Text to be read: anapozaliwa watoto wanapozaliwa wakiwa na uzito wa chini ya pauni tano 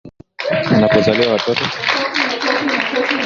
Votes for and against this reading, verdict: 1, 8, rejected